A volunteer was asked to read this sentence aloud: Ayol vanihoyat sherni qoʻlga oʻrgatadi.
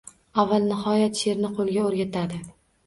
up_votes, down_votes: 0, 2